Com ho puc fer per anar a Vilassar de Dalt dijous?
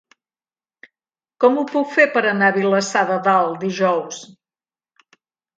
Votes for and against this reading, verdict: 2, 0, accepted